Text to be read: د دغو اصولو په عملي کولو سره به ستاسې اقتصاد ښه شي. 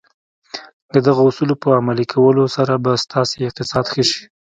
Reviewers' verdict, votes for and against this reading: accepted, 2, 0